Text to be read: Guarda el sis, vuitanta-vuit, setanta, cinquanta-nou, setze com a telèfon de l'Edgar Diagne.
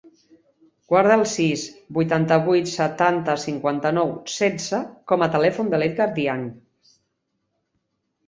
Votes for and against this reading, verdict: 4, 0, accepted